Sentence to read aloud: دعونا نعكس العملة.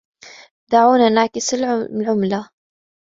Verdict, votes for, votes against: accepted, 2, 1